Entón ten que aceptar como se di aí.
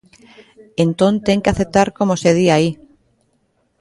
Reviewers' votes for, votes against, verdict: 2, 0, accepted